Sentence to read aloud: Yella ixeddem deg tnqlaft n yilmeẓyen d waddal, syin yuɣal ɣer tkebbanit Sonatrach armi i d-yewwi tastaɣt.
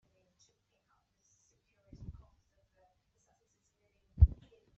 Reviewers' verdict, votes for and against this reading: rejected, 0, 2